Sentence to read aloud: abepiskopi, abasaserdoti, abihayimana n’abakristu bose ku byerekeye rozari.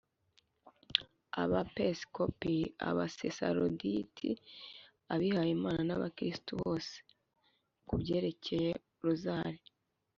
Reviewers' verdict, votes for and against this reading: rejected, 0, 2